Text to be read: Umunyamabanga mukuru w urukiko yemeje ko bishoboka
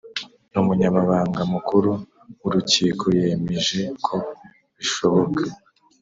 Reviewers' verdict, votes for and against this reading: accepted, 2, 0